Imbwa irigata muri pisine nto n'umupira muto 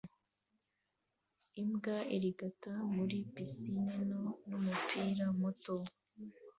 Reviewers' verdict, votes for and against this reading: accepted, 2, 0